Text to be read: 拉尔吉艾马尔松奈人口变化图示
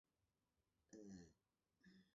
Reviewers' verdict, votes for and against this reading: accepted, 2, 0